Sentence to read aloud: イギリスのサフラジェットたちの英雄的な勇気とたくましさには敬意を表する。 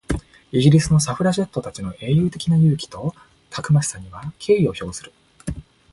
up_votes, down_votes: 2, 0